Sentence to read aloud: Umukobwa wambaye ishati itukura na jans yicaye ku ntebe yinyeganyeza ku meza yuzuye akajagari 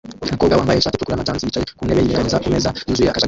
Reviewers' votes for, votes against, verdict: 0, 2, rejected